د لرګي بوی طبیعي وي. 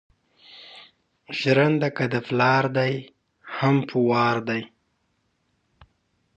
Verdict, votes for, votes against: rejected, 1, 2